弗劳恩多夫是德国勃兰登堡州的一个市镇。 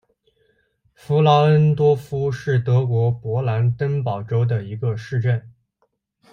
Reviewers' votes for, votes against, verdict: 2, 0, accepted